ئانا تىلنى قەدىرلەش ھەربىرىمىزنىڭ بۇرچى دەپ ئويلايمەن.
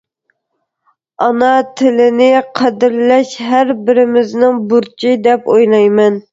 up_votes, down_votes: 1, 2